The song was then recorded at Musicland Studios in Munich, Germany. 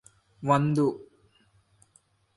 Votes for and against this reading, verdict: 0, 2, rejected